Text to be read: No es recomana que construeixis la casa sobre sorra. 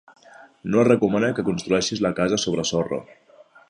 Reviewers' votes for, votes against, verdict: 3, 0, accepted